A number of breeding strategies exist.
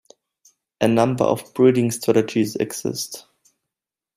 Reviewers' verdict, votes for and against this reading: accepted, 2, 0